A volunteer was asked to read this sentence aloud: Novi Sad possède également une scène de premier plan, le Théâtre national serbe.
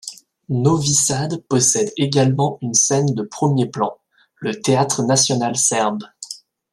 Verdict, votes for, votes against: rejected, 1, 2